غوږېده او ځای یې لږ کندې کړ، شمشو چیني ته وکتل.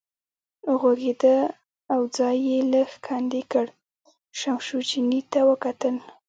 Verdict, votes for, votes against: rejected, 0, 2